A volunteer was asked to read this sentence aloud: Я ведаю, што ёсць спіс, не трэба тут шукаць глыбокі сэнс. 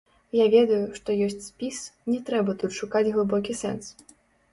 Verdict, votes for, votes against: rejected, 0, 2